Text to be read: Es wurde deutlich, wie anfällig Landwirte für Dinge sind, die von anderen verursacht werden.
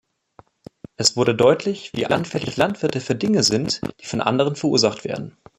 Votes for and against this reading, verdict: 1, 2, rejected